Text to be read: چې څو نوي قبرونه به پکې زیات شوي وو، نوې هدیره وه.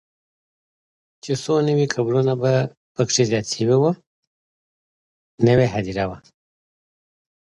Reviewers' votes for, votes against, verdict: 2, 0, accepted